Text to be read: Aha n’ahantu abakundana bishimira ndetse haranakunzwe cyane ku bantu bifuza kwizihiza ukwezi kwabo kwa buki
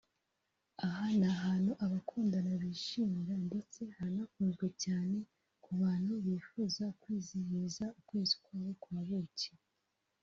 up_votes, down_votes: 0, 2